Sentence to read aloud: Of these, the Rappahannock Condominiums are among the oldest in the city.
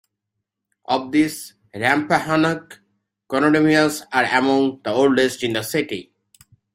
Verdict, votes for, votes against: rejected, 0, 2